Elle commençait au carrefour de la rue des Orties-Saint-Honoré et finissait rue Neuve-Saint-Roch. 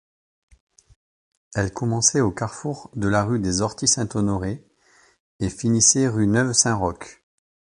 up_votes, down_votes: 2, 0